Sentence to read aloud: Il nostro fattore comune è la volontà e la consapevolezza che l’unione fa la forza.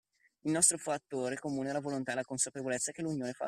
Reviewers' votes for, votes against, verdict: 1, 2, rejected